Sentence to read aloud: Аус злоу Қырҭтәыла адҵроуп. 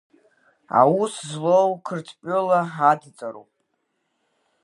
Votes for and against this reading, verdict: 1, 2, rejected